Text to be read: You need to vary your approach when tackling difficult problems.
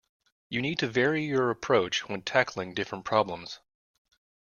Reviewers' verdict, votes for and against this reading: rejected, 0, 2